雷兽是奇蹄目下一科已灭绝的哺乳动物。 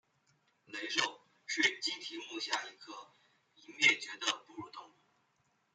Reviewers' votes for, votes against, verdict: 2, 1, accepted